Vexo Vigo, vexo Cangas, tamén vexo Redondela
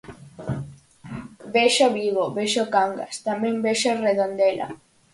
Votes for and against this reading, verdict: 4, 0, accepted